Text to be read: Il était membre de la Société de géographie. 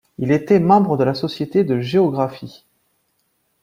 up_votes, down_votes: 2, 0